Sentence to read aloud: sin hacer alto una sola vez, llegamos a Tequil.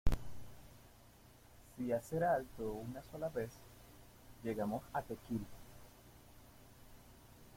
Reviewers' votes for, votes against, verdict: 1, 2, rejected